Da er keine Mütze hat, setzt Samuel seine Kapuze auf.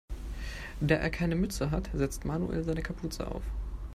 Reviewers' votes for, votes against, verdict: 2, 1, accepted